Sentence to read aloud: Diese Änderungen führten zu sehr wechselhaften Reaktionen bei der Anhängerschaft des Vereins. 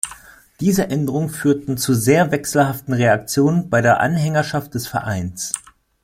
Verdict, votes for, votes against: accepted, 2, 0